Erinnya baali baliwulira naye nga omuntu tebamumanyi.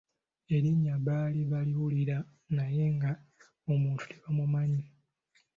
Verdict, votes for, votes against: accepted, 2, 0